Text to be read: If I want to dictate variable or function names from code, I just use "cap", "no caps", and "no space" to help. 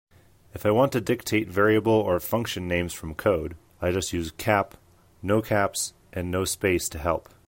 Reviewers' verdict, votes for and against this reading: accepted, 3, 0